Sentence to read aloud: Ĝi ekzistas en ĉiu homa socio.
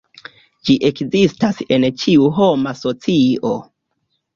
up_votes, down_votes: 1, 2